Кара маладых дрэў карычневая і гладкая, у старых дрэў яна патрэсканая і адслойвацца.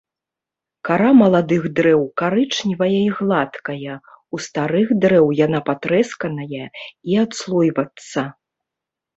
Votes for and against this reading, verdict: 1, 2, rejected